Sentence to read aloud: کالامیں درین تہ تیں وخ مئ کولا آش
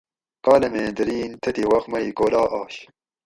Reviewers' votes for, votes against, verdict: 2, 2, rejected